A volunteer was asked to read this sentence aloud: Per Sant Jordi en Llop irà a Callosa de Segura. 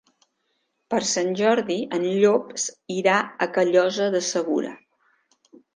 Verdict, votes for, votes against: accepted, 2, 0